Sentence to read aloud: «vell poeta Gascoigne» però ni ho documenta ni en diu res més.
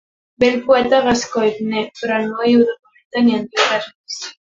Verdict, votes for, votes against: rejected, 0, 2